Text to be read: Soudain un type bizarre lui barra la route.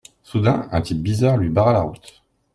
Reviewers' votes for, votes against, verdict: 3, 0, accepted